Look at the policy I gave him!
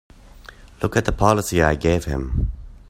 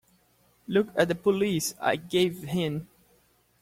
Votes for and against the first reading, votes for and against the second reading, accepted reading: 2, 0, 0, 3, first